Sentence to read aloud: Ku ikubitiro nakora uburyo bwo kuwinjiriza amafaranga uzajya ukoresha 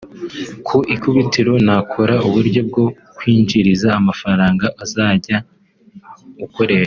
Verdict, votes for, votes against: rejected, 2, 3